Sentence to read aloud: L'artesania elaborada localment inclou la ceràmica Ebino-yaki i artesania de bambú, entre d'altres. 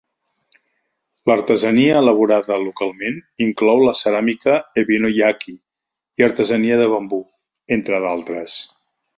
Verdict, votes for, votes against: accepted, 4, 0